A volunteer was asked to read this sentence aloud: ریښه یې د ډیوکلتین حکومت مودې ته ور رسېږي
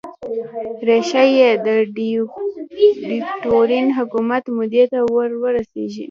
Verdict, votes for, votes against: rejected, 0, 2